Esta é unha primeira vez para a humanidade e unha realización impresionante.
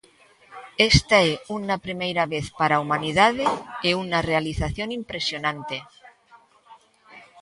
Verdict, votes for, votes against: rejected, 0, 2